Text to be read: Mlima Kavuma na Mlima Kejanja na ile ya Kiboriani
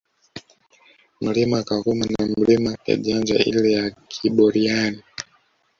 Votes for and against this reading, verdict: 1, 2, rejected